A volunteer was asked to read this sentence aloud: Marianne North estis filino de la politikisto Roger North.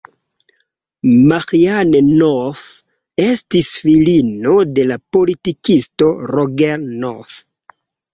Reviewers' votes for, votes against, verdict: 0, 2, rejected